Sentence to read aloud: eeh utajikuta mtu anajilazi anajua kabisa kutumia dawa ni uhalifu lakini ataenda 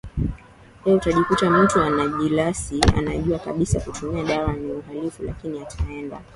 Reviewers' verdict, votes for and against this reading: rejected, 0, 2